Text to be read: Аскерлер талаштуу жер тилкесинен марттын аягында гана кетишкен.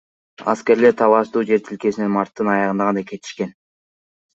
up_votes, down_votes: 2, 1